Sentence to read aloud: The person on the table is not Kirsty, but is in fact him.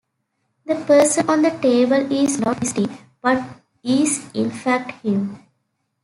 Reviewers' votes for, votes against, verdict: 0, 2, rejected